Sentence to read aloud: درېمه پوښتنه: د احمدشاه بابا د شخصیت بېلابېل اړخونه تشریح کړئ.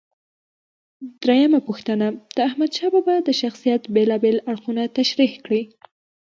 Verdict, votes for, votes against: accepted, 2, 0